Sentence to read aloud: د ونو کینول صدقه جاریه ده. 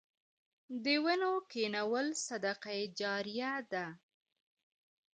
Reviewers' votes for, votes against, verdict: 1, 2, rejected